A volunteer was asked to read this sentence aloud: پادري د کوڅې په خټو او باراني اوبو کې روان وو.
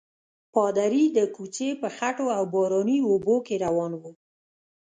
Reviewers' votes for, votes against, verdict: 0, 2, rejected